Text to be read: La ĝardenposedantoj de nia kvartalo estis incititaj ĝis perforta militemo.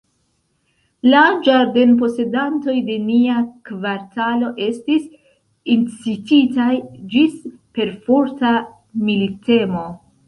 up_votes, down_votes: 2, 0